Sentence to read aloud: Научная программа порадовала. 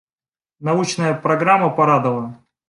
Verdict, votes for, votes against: accepted, 2, 1